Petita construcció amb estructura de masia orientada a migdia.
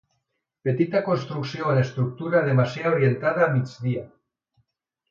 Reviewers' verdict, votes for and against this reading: rejected, 0, 2